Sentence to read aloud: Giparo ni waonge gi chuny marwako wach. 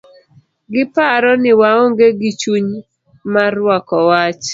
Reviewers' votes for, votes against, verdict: 2, 0, accepted